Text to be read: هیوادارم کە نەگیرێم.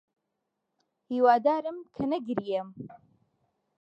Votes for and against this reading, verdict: 0, 2, rejected